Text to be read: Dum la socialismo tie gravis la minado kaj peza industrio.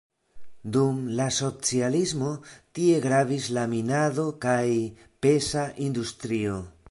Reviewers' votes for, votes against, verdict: 2, 0, accepted